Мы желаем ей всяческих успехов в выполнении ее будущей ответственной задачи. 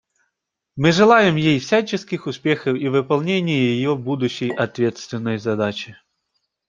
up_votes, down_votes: 1, 2